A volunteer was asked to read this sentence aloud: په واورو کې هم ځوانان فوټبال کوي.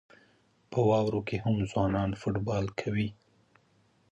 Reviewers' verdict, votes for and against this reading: accepted, 2, 0